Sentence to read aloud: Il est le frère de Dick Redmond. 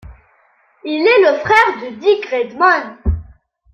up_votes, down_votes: 3, 0